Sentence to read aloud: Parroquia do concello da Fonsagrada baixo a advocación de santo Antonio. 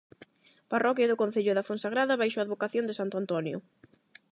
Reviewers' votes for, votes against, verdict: 8, 0, accepted